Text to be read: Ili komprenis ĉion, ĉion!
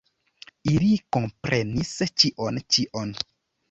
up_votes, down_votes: 1, 2